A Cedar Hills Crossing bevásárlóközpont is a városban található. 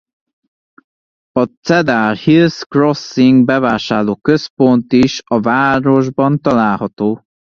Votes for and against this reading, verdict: 1, 2, rejected